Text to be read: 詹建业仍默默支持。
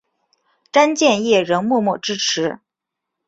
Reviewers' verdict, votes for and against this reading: accepted, 3, 1